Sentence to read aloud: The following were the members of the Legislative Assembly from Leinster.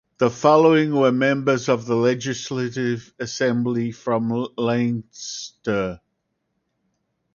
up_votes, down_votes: 2, 4